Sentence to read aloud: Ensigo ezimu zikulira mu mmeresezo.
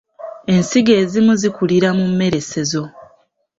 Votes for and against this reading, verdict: 2, 1, accepted